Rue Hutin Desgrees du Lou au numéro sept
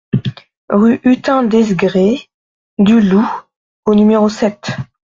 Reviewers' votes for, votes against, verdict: 1, 2, rejected